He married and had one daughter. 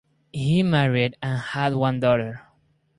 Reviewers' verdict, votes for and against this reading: accepted, 4, 0